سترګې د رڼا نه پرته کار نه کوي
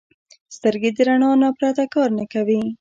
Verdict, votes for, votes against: rejected, 0, 2